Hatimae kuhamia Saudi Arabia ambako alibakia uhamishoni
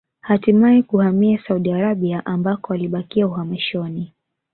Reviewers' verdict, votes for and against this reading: accepted, 4, 0